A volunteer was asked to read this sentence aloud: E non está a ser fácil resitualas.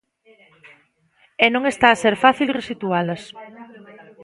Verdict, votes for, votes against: rejected, 0, 2